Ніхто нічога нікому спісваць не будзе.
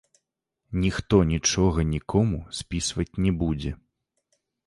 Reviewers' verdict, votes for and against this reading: accepted, 2, 0